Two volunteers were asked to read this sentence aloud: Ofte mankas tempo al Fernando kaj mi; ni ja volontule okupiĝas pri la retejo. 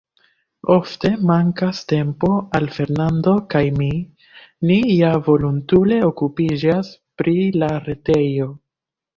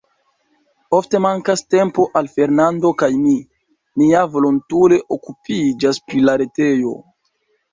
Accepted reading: second